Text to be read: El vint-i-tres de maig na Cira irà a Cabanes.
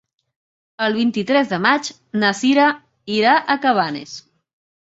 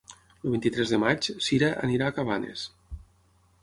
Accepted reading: first